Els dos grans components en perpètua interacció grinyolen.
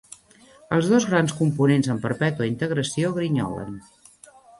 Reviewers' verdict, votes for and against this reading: rejected, 1, 2